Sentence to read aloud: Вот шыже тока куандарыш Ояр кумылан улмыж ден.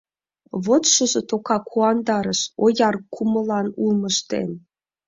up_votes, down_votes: 3, 0